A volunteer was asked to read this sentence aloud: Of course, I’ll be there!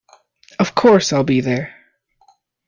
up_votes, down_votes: 2, 0